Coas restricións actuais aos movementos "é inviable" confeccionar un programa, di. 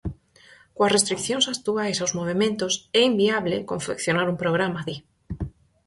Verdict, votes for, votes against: accepted, 4, 2